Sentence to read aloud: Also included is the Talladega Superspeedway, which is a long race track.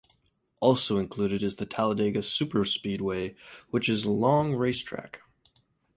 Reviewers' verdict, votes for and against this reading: rejected, 2, 4